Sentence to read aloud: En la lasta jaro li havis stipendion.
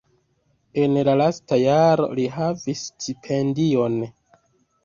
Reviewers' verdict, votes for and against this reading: accepted, 3, 2